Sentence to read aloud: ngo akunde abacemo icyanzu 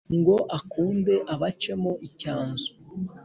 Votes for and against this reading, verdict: 3, 0, accepted